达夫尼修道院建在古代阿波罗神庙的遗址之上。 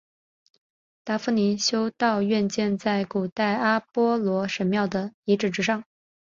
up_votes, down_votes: 3, 0